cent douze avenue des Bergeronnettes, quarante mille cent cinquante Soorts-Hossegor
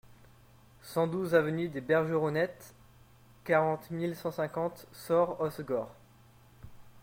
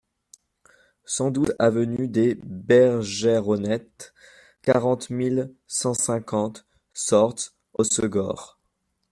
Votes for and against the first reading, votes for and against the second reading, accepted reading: 2, 0, 1, 3, first